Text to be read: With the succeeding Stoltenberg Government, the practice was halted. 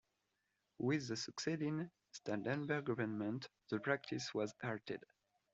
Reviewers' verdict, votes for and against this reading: rejected, 0, 2